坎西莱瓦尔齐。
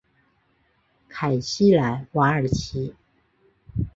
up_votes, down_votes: 2, 1